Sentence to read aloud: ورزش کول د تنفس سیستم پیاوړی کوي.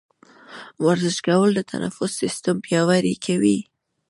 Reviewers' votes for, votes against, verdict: 1, 2, rejected